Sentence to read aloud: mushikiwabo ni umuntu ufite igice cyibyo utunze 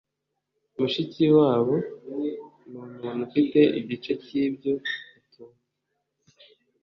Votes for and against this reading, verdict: 1, 2, rejected